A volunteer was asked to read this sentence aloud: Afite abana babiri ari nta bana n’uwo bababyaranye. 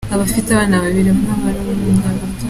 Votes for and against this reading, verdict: 0, 2, rejected